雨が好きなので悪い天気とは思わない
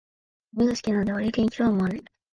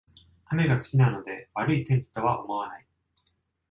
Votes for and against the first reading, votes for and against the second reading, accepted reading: 3, 9, 2, 1, second